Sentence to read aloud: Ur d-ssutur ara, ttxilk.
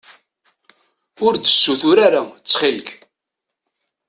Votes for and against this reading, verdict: 2, 0, accepted